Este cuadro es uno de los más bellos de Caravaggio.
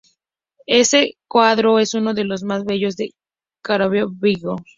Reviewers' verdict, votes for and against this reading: accepted, 2, 0